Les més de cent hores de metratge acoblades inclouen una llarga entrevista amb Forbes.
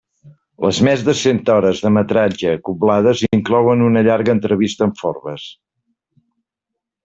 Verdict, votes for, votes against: accepted, 2, 0